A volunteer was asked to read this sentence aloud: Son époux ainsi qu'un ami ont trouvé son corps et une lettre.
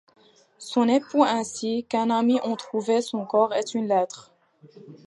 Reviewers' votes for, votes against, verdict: 1, 2, rejected